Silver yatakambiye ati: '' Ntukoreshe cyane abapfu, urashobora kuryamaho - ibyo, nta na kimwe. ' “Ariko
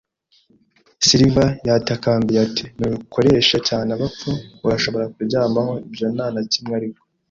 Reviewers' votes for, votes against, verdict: 1, 2, rejected